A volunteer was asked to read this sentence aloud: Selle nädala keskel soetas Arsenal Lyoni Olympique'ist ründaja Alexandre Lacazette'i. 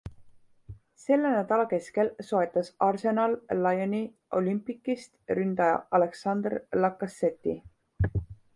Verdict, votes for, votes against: accepted, 2, 0